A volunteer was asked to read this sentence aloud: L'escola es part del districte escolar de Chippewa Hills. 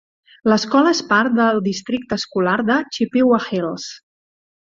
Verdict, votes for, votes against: accepted, 3, 0